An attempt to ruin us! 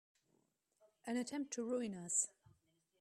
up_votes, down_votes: 2, 1